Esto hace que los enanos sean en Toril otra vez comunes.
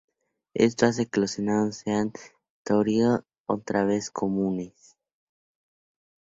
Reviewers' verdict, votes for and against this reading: rejected, 0, 2